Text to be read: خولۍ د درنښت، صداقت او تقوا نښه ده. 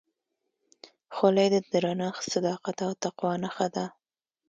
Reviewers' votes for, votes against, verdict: 2, 0, accepted